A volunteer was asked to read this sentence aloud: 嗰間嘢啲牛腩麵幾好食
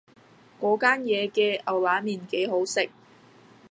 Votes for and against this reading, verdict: 1, 2, rejected